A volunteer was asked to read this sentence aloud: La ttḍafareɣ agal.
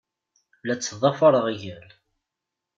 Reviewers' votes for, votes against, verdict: 2, 0, accepted